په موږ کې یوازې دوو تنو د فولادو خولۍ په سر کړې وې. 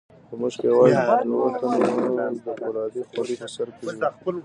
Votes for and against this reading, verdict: 2, 0, accepted